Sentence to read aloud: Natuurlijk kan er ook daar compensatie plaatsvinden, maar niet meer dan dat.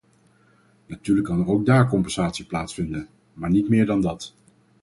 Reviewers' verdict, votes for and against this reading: accepted, 4, 0